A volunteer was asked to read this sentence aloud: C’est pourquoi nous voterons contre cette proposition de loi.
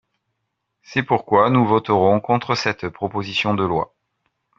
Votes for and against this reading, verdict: 3, 0, accepted